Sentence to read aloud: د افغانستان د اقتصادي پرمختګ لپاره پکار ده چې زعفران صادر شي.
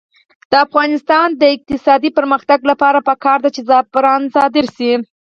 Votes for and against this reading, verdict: 4, 0, accepted